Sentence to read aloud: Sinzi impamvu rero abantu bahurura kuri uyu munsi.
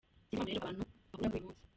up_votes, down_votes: 0, 2